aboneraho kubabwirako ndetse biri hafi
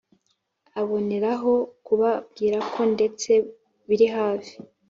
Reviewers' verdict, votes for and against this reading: accepted, 2, 0